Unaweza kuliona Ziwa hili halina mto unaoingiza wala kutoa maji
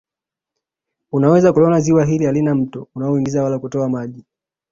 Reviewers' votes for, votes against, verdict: 2, 0, accepted